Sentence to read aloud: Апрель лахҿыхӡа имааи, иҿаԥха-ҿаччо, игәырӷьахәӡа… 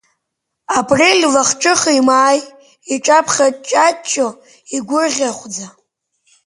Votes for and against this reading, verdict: 1, 2, rejected